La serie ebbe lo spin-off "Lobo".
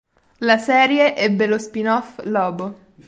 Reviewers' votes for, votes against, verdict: 4, 0, accepted